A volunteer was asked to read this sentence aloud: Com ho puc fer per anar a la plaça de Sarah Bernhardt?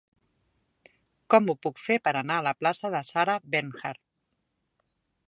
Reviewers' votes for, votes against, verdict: 2, 0, accepted